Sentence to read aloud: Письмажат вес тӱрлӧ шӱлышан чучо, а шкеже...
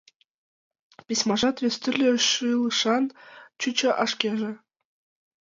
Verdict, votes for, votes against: accepted, 4, 3